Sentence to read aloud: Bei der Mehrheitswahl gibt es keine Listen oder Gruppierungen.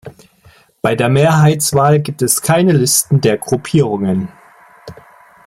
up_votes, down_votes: 1, 2